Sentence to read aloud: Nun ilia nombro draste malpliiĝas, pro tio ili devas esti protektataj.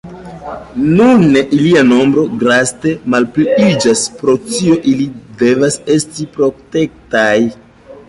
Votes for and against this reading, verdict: 0, 3, rejected